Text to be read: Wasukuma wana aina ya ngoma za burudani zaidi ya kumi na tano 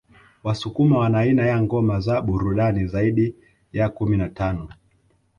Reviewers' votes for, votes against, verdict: 2, 0, accepted